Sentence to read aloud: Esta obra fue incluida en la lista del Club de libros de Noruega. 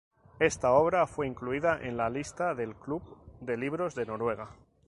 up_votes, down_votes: 2, 0